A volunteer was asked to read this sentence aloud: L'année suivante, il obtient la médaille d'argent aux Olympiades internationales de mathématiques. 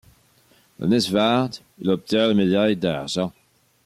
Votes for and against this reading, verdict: 1, 2, rejected